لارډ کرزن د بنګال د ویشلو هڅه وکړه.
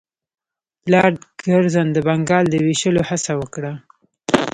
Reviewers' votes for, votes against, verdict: 2, 0, accepted